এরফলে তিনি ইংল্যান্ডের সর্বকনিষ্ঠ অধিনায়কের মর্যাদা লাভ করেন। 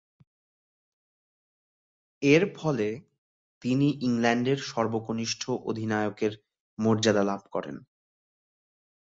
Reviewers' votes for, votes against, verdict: 1, 2, rejected